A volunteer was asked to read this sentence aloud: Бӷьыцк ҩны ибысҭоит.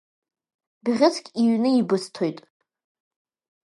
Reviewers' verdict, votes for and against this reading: rejected, 0, 2